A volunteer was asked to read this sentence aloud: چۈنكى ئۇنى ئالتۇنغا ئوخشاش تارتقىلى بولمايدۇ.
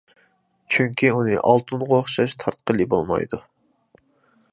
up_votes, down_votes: 2, 0